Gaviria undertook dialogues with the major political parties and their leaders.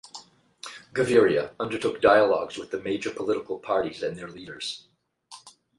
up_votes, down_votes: 8, 0